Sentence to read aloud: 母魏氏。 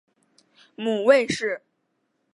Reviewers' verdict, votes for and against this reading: accepted, 3, 0